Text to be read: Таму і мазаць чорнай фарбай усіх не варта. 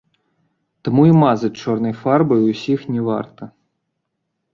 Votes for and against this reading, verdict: 1, 2, rejected